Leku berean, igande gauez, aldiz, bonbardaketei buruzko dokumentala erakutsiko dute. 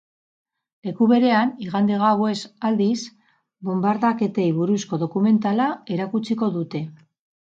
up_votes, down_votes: 2, 2